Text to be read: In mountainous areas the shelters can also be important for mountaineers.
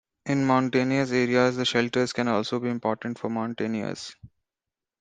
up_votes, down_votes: 2, 1